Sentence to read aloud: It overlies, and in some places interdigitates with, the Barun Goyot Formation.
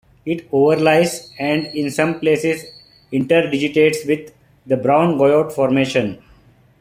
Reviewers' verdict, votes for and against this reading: accepted, 2, 0